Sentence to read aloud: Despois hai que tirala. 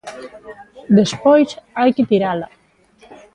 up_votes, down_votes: 2, 1